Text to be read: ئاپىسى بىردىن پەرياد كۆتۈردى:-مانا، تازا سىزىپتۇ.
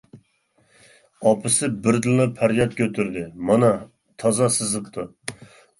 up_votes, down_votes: 0, 2